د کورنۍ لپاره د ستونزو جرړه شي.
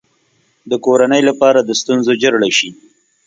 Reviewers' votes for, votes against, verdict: 2, 0, accepted